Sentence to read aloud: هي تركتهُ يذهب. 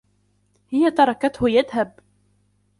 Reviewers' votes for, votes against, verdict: 3, 2, accepted